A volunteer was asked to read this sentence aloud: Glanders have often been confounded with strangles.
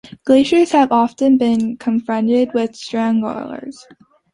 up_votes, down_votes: 0, 2